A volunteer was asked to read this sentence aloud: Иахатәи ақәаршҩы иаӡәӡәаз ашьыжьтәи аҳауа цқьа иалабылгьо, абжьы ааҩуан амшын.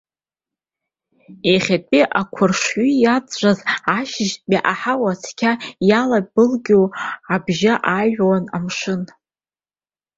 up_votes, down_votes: 1, 2